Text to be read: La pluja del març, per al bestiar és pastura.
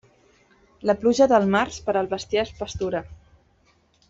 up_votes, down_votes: 3, 0